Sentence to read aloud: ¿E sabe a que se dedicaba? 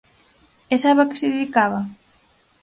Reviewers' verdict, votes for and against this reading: accepted, 4, 0